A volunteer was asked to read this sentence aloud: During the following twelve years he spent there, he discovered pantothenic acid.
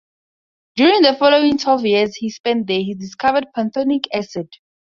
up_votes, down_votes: 0, 4